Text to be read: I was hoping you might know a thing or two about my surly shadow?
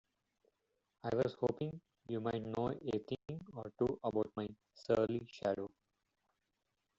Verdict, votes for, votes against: rejected, 0, 2